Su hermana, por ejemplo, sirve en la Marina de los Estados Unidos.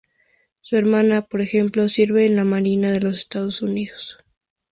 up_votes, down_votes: 4, 0